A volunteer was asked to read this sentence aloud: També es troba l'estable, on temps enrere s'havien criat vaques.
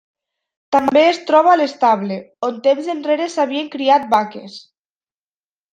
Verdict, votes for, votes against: accepted, 2, 0